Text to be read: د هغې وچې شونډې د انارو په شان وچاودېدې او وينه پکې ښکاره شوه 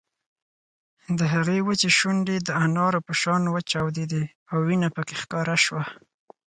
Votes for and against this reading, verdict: 4, 0, accepted